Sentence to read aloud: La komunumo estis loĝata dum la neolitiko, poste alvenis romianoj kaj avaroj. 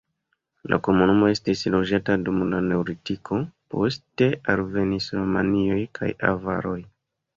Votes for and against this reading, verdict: 2, 0, accepted